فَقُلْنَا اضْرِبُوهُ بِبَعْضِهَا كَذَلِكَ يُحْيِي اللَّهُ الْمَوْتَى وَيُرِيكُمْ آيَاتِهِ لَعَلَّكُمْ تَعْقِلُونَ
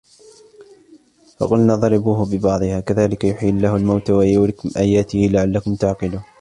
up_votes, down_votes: 2, 0